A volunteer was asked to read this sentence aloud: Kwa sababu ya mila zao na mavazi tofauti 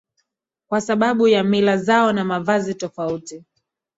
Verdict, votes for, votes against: accepted, 2, 0